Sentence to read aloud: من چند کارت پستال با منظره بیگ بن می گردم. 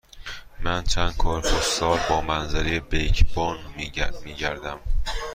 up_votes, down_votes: 1, 2